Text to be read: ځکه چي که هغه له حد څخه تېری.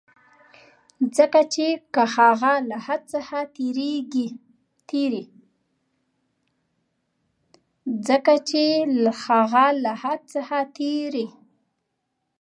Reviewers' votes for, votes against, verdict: 1, 2, rejected